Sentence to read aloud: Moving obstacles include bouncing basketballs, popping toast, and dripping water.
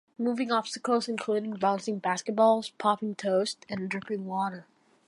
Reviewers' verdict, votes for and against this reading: accepted, 2, 1